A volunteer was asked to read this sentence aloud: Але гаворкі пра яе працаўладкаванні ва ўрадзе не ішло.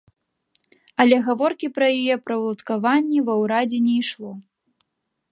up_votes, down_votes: 0, 2